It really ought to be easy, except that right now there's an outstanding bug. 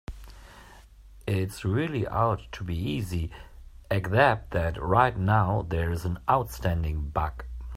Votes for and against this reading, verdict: 1, 2, rejected